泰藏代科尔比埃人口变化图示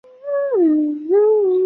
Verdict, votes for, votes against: rejected, 0, 2